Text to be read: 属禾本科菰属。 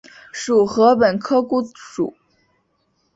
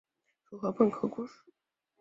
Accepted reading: first